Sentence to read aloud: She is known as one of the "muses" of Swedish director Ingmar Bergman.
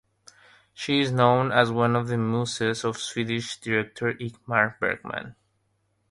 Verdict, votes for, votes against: accepted, 3, 0